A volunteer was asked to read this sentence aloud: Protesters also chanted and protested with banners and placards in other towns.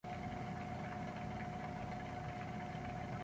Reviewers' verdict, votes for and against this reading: rejected, 0, 2